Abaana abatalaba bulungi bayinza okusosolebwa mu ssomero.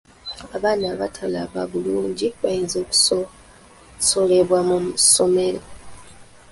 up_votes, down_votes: 1, 2